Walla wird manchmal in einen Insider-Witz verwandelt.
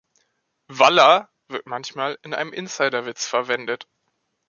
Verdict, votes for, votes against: rejected, 1, 3